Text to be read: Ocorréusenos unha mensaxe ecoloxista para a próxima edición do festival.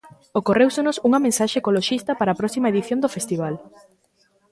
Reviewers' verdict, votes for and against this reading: rejected, 1, 2